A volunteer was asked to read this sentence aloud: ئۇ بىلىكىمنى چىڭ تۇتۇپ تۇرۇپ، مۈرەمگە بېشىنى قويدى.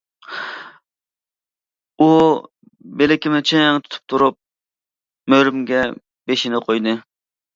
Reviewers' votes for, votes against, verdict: 1, 2, rejected